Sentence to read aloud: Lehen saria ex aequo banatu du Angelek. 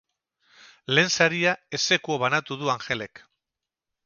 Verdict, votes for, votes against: accepted, 2, 0